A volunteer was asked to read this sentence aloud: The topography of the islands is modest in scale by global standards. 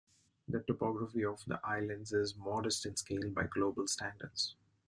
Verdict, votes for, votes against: accepted, 2, 0